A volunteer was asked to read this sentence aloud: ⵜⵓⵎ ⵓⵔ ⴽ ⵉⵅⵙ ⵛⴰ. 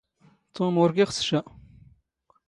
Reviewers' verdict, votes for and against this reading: rejected, 1, 2